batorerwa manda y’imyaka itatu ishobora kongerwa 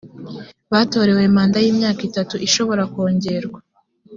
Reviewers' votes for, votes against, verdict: 0, 2, rejected